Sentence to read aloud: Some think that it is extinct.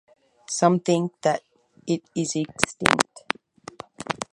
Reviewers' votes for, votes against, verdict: 4, 0, accepted